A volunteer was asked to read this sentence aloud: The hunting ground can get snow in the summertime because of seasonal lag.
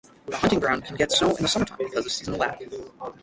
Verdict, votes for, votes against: rejected, 0, 6